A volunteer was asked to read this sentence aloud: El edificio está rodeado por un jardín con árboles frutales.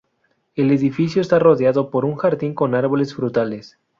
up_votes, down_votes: 2, 0